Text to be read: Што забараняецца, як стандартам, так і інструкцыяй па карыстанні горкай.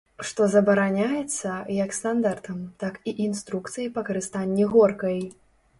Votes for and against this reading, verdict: 3, 0, accepted